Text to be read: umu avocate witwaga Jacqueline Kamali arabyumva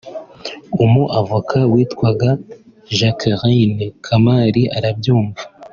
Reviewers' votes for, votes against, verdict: 2, 0, accepted